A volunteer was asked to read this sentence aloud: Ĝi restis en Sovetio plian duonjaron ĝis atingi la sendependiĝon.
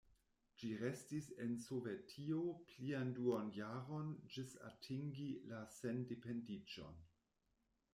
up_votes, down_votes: 2, 0